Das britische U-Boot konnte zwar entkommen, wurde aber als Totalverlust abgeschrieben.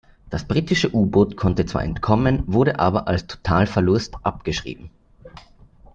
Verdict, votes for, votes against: rejected, 0, 2